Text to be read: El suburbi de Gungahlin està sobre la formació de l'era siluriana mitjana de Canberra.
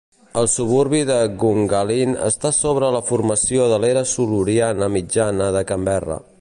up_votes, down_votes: 1, 2